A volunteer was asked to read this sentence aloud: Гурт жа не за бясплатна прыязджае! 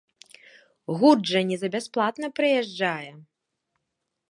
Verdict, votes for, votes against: accepted, 2, 0